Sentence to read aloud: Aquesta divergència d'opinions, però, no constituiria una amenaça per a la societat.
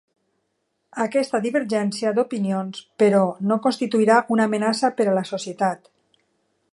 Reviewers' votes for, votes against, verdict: 0, 2, rejected